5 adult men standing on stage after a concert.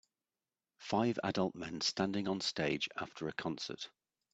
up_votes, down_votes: 0, 2